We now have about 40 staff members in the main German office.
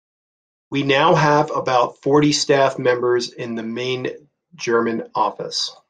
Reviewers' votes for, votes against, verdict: 0, 2, rejected